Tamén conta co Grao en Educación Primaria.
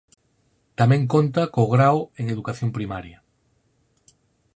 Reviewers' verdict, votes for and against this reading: accepted, 4, 0